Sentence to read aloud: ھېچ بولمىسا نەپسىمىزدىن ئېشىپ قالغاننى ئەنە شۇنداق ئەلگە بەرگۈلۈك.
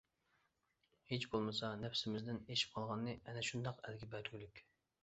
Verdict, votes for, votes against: accepted, 3, 0